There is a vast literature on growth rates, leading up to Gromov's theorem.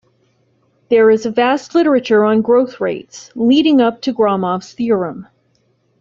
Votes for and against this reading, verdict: 2, 0, accepted